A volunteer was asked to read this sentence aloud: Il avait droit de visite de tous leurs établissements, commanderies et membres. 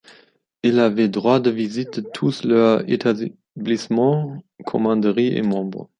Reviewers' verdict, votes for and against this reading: rejected, 1, 2